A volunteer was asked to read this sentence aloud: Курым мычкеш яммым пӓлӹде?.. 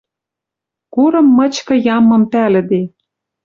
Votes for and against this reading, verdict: 0, 2, rejected